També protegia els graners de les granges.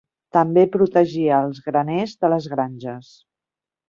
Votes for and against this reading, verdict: 3, 0, accepted